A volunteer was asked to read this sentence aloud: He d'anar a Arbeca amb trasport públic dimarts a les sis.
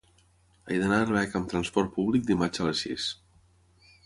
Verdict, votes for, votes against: accepted, 6, 0